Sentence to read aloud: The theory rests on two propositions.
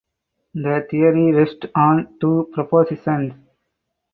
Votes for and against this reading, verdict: 4, 0, accepted